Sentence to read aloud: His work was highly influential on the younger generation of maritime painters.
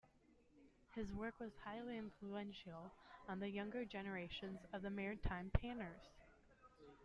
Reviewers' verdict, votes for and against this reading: accepted, 2, 0